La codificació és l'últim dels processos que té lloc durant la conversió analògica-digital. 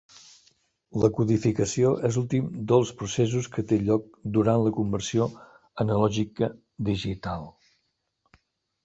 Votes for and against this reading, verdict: 3, 0, accepted